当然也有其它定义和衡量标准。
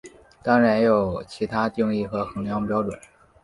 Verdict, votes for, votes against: accepted, 3, 1